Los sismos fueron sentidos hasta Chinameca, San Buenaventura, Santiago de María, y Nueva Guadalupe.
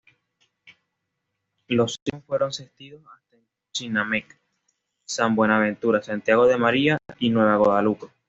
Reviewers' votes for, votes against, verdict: 1, 2, rejected